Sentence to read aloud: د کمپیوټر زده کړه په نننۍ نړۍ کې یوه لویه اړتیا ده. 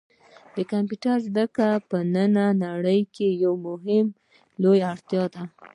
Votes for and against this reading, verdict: 0, 2, rejected